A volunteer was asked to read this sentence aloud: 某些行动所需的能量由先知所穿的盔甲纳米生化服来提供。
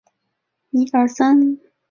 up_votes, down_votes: 0, 3